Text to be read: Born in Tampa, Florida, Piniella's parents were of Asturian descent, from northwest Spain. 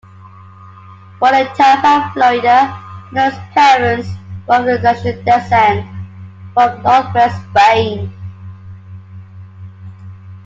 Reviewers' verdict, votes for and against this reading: rejected, 0, 2